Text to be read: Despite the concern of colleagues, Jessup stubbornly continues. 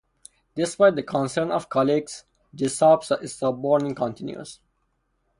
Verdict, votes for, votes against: rejected, 0, 2